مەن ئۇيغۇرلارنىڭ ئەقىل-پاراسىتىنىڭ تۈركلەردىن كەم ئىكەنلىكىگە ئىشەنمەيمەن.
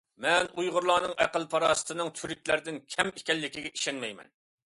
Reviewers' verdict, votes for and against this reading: accepted, 2, 0